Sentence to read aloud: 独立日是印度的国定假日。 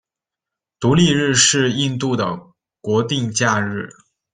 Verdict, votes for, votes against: accepted, 2, 0